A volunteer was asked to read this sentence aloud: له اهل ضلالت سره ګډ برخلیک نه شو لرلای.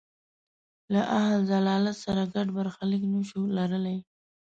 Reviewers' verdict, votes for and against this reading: rejected, 1, 2